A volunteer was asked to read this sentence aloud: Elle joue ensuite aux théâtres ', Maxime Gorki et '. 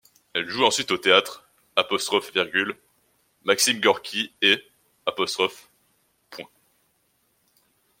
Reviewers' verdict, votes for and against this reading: rejected, 1, 2